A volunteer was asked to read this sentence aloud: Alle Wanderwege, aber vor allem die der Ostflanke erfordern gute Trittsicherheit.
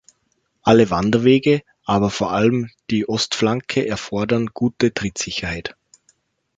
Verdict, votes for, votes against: rejected, 1, 2